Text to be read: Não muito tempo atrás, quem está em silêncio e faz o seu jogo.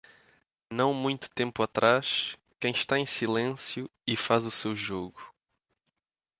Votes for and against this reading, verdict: 2, 1, accepted